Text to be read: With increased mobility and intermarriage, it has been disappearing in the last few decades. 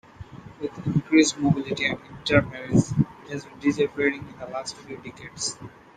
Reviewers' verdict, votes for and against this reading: rejected, 1, 2